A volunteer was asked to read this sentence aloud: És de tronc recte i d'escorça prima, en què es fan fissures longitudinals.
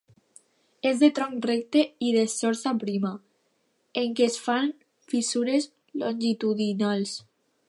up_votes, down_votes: 0, 2